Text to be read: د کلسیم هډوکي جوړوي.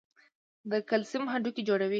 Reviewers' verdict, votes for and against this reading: accepted, 2, 0